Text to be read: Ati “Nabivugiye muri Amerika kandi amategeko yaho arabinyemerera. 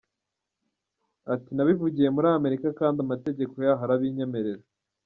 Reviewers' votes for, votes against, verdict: 2, 0, accepted